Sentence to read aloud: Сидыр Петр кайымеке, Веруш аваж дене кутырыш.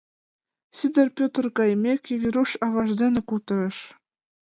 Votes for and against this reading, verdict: 2, 0, accepted